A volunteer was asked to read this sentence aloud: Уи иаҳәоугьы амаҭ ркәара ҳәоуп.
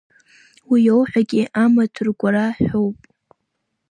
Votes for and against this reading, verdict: 1, 2, rejected